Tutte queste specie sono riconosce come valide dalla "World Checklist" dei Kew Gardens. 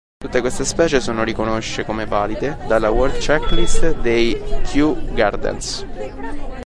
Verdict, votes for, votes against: rejected, 1, 2